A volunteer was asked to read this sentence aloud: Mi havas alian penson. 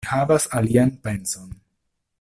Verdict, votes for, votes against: rejected, 0, 2